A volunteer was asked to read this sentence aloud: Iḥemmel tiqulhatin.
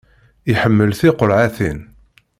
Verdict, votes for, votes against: accepted, 2, 1